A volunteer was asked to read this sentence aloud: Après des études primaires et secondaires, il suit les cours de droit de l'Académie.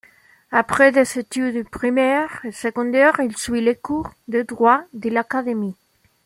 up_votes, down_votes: 2, 0